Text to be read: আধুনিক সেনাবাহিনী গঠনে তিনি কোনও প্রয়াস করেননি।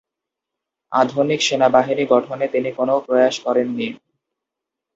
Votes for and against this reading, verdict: 2, 0, accepted